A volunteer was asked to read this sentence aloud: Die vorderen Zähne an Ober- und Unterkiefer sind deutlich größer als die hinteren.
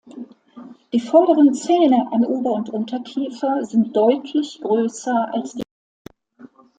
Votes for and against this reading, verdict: 0, 2, rejected